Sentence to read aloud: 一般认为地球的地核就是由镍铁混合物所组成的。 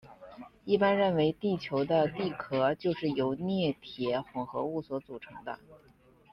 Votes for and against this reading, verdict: 1, 2, rejected